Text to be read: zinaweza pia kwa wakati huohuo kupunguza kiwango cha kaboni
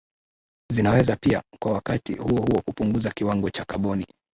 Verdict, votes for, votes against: rejected, 0, 2